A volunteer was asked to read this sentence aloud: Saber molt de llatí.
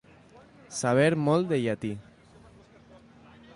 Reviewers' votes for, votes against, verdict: 2, 0, accepted